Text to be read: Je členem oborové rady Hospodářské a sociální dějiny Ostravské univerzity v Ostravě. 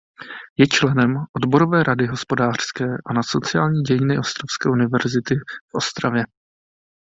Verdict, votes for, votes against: rejected, 0, 2